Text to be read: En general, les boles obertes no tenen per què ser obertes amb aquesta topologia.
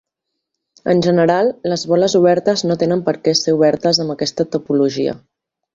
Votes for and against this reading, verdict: 2, 0, accepted